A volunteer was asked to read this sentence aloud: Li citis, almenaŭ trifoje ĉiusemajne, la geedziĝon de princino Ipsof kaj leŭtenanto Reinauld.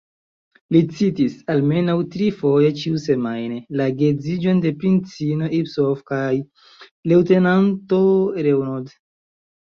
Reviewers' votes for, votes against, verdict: 1, 2, rejected